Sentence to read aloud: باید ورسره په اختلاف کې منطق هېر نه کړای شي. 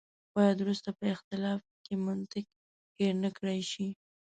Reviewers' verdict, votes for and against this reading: rejected, 1, 2